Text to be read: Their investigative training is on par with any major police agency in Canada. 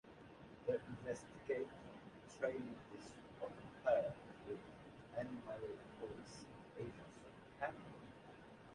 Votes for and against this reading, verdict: 0, 2, rejected